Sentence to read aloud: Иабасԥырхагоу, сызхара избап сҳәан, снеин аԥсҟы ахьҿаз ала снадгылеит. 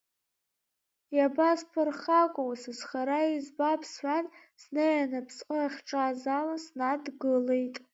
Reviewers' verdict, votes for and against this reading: rejected, 1, 2